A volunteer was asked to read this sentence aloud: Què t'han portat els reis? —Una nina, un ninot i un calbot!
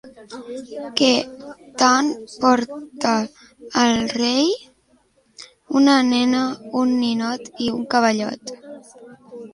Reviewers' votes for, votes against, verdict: 1, 2, rejected